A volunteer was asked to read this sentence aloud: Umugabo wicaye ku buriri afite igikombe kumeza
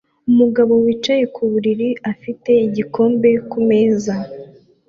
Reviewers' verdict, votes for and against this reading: accepted, 2, 0